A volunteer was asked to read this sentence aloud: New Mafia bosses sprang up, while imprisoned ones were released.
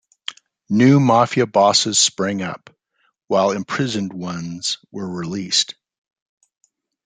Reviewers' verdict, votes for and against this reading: accepted, 2, 0